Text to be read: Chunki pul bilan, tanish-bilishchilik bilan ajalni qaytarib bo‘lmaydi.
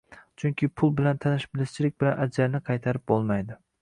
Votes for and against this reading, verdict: 1, 2, rejected